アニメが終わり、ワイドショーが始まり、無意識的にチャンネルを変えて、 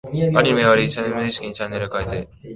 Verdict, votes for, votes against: rejected, 1, 2